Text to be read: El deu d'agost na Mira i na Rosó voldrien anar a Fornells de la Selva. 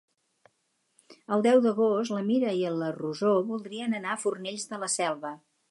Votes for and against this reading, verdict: 2, 4, rejected